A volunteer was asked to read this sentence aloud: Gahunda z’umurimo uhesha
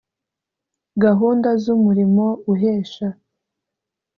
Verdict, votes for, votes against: accepted, 2, 0